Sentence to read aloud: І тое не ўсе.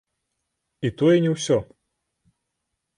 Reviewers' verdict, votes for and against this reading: accepted, 3, 0